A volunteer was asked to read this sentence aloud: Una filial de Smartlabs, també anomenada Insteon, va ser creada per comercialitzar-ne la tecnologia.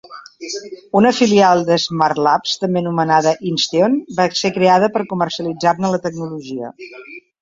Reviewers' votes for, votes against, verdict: 0, 2, rejected